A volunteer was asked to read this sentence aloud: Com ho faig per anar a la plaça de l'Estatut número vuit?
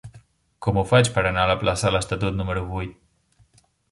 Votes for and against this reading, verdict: 0, 2, rejected